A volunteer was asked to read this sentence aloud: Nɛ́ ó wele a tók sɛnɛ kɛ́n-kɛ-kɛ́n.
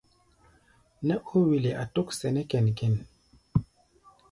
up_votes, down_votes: 1, 2